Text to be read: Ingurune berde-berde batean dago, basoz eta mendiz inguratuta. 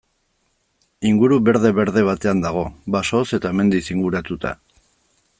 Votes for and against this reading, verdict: 0, 2, rejected